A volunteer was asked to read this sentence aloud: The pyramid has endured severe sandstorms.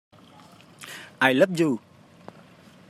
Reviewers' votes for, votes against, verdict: 0, 2, rejected